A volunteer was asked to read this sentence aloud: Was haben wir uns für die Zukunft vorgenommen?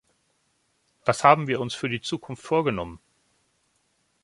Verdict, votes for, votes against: accepted, 2, 0